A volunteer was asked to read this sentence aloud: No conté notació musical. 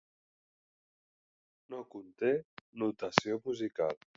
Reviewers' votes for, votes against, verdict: 4, 0, accepted